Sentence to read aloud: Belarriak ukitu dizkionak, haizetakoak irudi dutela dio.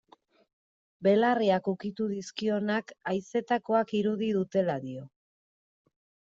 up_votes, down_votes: 2, 0